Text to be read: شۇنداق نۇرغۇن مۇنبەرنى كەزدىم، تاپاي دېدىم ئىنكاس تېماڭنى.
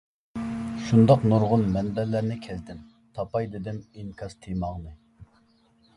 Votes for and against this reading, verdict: 0, 2, rejected